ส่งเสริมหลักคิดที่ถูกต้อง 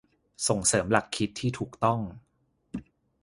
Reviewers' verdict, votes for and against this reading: accepted, 2, 0